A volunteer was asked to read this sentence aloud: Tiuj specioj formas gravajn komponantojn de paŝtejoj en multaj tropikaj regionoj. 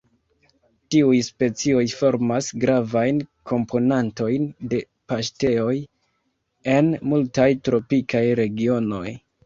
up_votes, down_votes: 2, 1